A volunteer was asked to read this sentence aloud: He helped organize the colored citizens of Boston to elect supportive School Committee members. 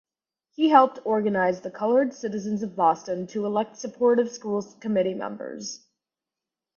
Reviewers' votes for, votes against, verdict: 2, 0, accepted